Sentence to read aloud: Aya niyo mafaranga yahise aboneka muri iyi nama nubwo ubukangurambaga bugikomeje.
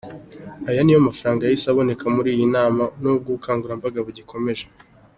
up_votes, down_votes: 2, 0